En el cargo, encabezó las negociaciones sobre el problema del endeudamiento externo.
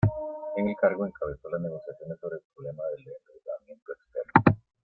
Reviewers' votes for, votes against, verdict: 0, 2, rejected